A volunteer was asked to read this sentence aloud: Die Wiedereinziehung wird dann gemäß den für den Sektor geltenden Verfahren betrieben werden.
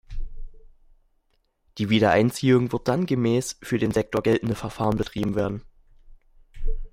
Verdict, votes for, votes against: rejected, 0, 2